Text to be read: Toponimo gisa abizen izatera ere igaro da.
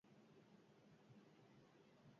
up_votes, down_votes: 0, 6